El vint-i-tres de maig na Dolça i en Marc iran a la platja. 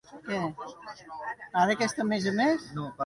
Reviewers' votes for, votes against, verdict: 0, 2, rejected